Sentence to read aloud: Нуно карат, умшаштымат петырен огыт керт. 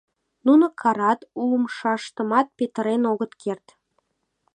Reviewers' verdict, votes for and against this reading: accepted, 2, 0